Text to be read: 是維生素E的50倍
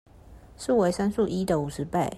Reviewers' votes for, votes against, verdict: 0, 2, rejected